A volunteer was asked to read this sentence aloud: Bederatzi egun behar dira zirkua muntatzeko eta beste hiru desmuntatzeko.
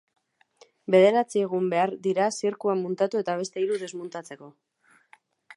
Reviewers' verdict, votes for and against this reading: rejected, 0, 2